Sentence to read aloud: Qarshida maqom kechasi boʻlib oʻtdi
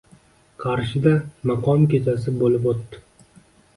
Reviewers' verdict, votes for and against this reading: accepted, 2, 0